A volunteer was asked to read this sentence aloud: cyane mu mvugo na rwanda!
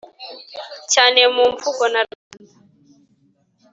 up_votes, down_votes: 1, 2